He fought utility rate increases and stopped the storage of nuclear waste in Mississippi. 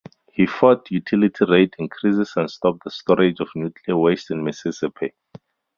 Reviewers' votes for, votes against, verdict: 0, 2, rejected